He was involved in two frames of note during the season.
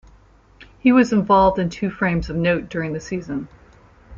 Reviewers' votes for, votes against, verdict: 2, 0, accepted